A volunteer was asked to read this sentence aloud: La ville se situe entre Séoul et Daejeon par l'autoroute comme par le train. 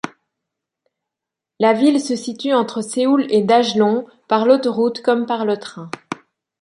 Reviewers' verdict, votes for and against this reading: accepted, 2, 0